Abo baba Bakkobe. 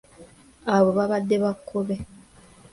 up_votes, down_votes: 2, 0